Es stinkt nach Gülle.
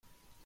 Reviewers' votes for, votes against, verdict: 0, 4, rejected